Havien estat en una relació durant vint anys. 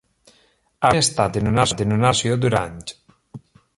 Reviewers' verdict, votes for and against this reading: rejected, 0, 2